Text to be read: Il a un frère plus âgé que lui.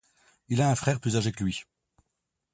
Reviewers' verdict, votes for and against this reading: accepted, 2, 0